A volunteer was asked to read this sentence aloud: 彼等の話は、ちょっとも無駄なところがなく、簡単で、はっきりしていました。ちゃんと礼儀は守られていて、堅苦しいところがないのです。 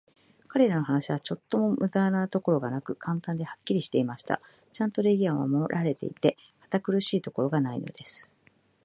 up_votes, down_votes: 2, 0